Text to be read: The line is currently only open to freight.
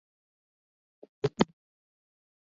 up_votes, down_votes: 0, 2